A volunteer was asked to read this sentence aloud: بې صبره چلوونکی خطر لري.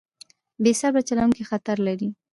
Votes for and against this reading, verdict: 1, 2, rejected